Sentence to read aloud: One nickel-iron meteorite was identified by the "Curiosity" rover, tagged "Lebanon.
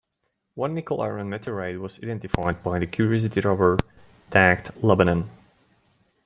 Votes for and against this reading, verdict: 2, 0, accepted